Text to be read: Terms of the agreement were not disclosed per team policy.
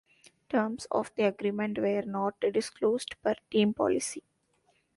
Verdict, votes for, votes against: rejected, 1, 2